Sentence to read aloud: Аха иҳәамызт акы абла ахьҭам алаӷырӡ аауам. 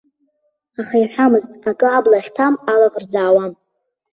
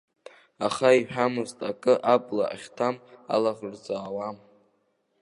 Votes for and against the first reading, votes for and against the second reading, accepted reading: 1, 2, 2, 0, second